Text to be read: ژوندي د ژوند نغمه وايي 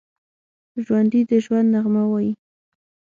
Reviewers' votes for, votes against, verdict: 6, 0, accepted